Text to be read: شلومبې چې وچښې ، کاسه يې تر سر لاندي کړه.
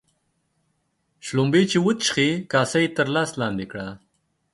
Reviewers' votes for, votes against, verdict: 0, 2, rejected